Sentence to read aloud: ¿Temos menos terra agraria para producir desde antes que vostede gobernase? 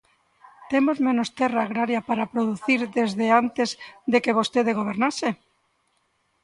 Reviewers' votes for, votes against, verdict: 0, 2, rejected